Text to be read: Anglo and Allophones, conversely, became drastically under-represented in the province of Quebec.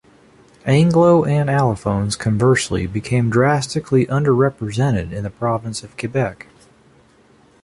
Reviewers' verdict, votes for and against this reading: accepted, 2, 0